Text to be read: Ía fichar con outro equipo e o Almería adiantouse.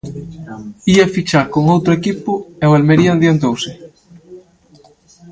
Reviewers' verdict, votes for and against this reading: rejected, 1, 2